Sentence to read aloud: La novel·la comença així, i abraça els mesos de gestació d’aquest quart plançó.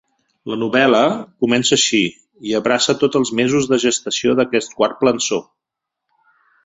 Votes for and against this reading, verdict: 2, 3, rejected